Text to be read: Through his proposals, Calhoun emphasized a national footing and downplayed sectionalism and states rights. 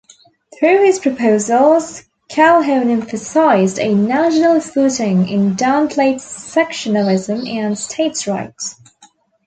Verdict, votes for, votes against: rejected, 1, 2